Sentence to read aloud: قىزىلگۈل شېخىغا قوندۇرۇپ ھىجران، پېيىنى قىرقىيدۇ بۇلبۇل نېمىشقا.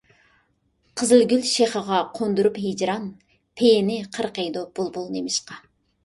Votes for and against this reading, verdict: 2, 0, accepted